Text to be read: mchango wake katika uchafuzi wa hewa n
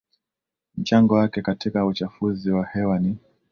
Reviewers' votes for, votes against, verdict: 2, 0, accepted